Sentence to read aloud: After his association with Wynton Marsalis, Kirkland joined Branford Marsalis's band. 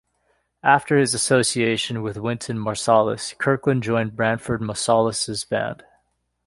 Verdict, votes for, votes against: accepted, 2, 0